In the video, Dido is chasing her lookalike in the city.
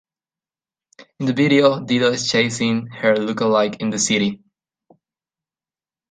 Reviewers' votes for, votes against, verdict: 2, 0, accepted